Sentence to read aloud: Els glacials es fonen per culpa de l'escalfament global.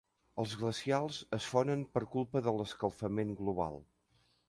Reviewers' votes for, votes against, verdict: 3, 0, accepted